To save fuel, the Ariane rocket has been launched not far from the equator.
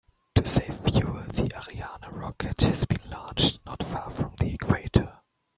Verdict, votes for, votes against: rejected, 1, 2